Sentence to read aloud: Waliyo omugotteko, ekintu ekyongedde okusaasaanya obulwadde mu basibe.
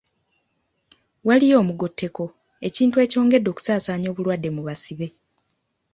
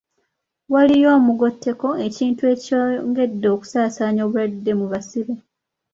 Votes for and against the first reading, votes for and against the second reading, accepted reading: 2, 0, 1, 2, first